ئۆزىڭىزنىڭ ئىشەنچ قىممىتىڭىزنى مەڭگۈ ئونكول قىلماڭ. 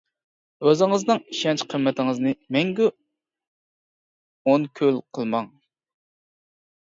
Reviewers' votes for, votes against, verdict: 1, 2, rejected